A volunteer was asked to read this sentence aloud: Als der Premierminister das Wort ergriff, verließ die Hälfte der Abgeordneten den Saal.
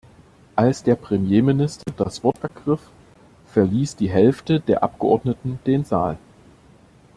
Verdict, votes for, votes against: accepted, 2, 0